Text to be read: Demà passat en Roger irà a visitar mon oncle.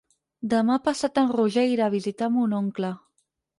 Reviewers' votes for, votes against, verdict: 6, 0, accepted